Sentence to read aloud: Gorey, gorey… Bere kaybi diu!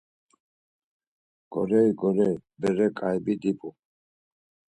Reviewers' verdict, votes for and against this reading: rejected, 2, 4